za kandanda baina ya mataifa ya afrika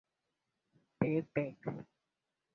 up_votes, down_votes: 0, 2